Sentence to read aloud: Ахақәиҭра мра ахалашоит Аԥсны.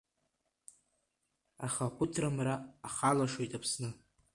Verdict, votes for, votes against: rejected, 1, 2